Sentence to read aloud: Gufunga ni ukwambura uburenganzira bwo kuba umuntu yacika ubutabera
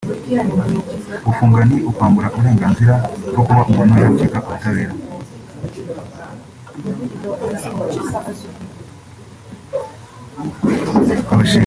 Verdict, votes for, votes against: rejected, 0, 2